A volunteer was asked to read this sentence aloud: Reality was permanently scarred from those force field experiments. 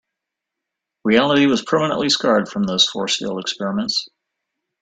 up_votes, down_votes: 2, 0